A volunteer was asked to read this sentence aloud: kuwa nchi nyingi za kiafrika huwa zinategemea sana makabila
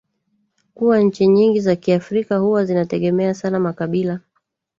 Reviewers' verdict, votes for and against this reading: rejected, 1, 2